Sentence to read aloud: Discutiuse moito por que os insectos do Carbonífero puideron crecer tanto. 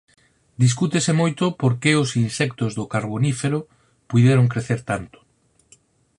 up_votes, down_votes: 2, 4